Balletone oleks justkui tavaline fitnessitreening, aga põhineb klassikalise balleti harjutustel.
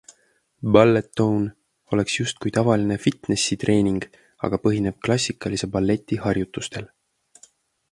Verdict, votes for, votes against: accepted, 2, 0